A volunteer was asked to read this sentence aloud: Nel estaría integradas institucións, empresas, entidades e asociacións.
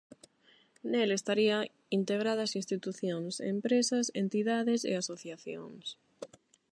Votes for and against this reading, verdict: 8, 0, accepted